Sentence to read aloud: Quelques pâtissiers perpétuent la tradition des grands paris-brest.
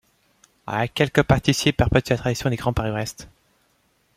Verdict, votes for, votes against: rejected, 1, 2